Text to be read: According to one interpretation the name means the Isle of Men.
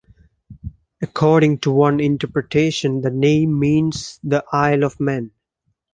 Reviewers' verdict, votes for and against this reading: accepted, 2, 0